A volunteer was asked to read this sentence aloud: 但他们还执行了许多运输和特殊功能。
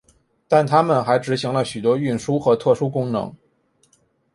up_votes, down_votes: 4, 1